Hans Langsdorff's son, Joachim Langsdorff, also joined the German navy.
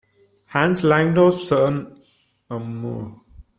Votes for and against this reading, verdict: 0, 2, rejected